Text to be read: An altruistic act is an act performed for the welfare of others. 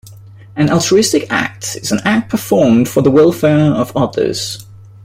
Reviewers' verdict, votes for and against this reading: accepted, 2, 0